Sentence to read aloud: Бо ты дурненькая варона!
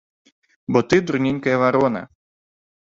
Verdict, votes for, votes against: accepted, 2, 0